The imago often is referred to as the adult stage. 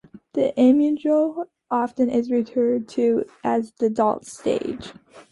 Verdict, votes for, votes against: rejected, 1, 2